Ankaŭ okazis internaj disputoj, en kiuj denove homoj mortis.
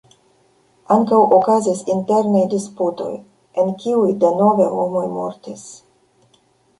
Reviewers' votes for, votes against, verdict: 1, 2, rejected